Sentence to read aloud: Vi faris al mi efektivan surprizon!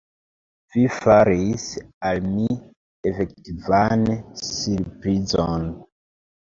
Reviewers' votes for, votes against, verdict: 0, 2, rejected